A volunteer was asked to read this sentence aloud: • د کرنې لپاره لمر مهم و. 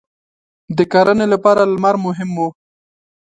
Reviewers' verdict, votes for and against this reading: accepted, 2, 0